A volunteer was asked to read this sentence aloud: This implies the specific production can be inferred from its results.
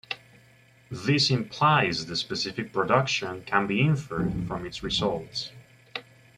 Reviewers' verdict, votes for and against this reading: rejected, 0, 2